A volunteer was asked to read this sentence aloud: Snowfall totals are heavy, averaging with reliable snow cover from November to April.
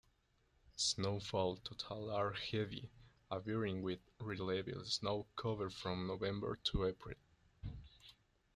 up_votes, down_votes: 1, 2